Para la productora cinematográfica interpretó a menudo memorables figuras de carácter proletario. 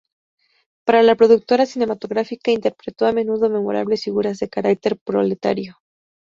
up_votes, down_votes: 0, 2